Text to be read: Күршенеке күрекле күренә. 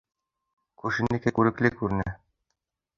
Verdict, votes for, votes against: rejected, 0, 2